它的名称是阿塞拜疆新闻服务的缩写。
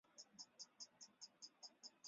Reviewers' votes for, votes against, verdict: 0, 2, rejected